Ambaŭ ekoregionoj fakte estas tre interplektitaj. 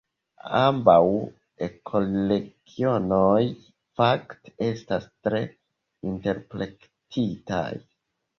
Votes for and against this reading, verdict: 0, 2, rejected